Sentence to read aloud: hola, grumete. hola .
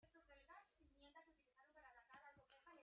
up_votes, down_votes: 0, 2